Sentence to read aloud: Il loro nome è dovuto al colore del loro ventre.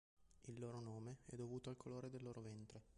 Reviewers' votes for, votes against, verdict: 0, 2, rejected